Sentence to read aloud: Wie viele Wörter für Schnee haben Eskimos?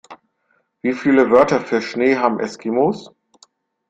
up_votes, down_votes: 2, 0